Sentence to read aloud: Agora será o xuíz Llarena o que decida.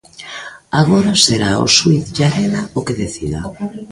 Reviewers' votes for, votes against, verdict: 1, 2, rejected